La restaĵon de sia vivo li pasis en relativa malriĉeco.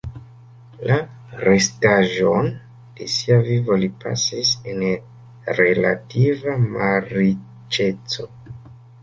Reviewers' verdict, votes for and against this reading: rejected, 0, 2